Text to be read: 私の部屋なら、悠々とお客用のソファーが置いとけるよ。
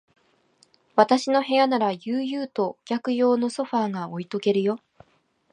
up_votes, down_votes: 3, 0